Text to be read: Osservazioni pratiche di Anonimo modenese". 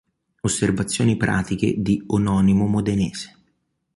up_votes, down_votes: 1, 3